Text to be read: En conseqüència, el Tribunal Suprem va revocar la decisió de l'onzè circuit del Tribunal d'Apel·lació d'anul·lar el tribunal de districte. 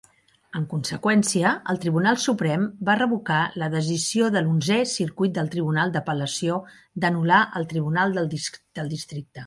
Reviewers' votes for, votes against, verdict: 0, 2, rejected